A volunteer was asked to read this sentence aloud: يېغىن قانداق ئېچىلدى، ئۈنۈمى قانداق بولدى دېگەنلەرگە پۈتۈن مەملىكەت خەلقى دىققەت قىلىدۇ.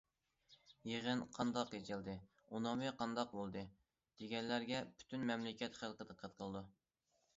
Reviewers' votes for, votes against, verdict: 1, 2, rejected